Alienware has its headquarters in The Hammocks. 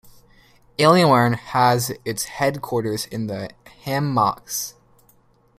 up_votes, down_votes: 0, 2